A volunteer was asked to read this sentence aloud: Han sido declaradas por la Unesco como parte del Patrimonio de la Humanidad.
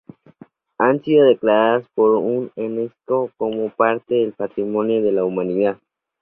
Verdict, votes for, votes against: rejected, 0, 4